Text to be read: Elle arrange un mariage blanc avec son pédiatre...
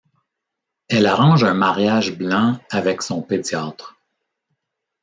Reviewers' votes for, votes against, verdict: 2, 0, accepted